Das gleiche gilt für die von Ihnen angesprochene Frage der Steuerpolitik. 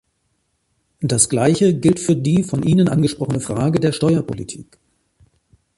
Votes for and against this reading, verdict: 2, 1, accepted